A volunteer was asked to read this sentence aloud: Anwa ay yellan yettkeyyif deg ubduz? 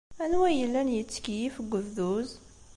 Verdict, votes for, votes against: accepted, 2, 0